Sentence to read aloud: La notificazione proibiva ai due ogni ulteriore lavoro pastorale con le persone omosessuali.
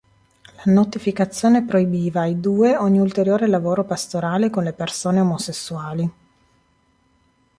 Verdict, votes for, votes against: rejected, 1, 2